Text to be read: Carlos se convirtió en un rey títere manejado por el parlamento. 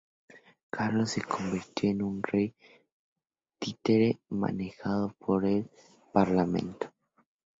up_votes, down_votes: 2, 0